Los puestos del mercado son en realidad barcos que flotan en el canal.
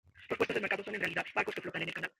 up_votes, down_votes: 1, 2